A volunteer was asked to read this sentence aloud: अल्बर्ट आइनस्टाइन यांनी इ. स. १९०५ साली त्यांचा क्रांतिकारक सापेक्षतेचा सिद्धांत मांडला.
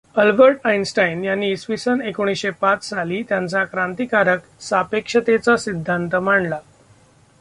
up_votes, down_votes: 0, 2